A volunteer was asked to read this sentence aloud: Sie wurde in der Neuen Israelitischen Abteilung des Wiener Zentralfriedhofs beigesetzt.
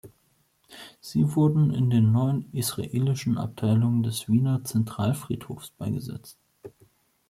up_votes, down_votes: 0, 2